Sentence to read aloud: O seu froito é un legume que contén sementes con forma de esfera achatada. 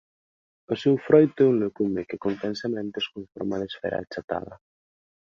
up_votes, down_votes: 2, 1